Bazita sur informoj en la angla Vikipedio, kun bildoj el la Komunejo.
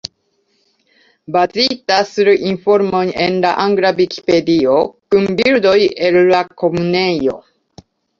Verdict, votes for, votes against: accepted, 2, 0